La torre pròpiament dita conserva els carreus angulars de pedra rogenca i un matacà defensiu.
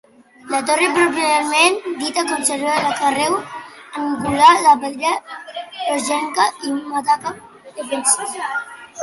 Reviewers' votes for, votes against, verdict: 1, 2, rejected